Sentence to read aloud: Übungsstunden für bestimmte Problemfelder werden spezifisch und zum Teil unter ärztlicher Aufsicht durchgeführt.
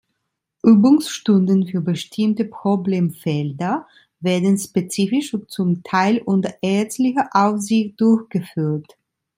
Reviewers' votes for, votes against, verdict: 2, 1, accepted